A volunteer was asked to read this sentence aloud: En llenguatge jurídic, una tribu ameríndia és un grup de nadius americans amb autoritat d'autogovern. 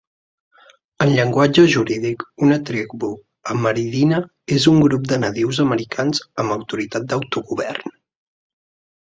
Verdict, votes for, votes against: rejected, 0, 2